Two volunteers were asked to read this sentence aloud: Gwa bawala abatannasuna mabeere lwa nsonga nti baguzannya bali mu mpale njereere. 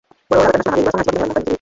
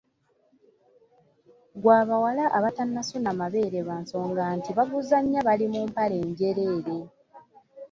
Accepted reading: second